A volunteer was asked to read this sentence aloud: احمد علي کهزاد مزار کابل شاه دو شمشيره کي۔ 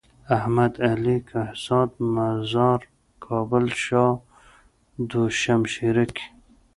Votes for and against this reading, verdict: 2, 0, accepted